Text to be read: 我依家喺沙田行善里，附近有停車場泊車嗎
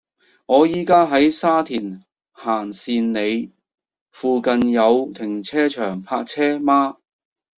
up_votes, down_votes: 1, 2